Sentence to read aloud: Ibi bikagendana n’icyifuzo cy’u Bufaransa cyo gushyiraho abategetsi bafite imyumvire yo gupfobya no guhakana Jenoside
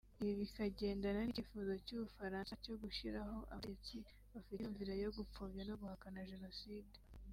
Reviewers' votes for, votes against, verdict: 1, 2, rejected